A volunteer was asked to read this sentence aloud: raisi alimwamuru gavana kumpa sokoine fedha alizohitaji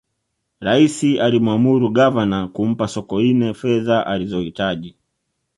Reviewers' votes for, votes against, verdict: 2, 0, accepted